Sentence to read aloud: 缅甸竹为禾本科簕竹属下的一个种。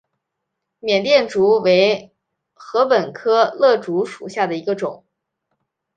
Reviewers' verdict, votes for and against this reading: accepted, 2, 0